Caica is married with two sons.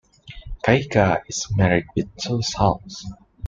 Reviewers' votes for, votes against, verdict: 2, 0, accepted